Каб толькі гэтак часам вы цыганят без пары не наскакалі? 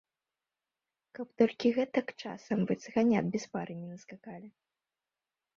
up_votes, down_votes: 1, 6